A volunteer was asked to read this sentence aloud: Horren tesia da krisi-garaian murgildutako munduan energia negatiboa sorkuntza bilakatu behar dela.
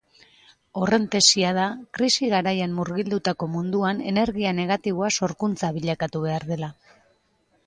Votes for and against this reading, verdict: 2, 1, accepted